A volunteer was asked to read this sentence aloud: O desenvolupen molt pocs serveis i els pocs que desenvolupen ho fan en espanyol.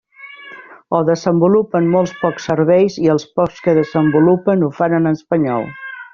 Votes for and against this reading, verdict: 1, 2, rejected